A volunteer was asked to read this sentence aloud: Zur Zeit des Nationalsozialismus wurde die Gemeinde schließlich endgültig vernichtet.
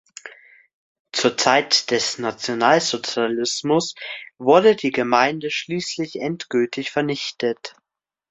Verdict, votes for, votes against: accepted, 2, 0